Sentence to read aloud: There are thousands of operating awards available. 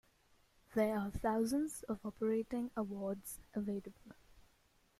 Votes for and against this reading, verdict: 2, 1, accepted